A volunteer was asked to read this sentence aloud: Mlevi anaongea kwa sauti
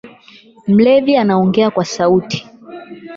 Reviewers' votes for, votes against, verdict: 0, 8, rejected